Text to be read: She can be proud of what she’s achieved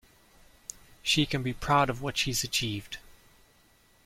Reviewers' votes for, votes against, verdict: 2, 0, accepted